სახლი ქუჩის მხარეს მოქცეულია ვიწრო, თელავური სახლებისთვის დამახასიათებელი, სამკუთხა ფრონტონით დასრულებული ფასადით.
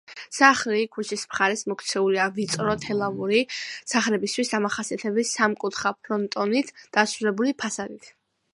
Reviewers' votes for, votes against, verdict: 2, 0, accepted